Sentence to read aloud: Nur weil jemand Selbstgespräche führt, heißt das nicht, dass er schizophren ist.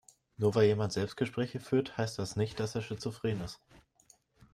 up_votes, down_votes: 2, 0